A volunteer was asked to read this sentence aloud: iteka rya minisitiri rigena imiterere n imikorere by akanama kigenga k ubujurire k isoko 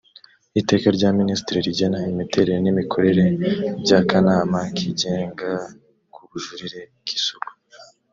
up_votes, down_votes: 1, 2